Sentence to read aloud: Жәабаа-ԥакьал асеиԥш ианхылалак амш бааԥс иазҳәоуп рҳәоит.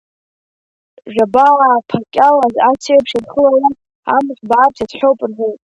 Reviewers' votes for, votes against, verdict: 2, 0, accepted